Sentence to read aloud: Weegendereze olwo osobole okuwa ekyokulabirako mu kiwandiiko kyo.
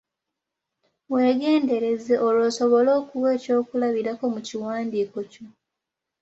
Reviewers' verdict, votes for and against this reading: accepted, 2, 0